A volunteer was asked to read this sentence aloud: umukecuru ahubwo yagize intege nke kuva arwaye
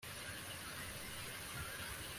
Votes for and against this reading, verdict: 0, 2, rejected